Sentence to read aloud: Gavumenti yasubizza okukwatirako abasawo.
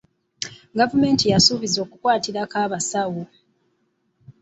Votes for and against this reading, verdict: 1, 2, rejected